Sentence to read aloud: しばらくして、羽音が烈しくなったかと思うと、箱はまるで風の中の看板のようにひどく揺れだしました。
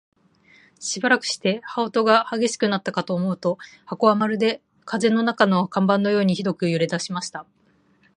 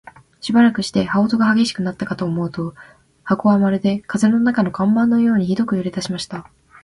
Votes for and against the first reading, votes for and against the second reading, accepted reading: 2, 1, 1, 2, first